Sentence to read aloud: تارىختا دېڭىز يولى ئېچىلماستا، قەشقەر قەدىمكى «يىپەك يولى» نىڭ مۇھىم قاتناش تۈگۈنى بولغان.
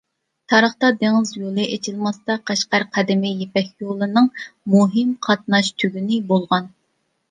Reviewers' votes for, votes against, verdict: 2, 0, accepted